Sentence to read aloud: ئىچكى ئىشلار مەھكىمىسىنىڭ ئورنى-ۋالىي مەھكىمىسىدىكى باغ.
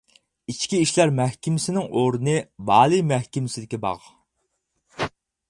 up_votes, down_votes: 6, 0